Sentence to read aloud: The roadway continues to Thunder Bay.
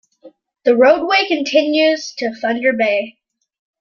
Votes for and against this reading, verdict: 2, 0, accepted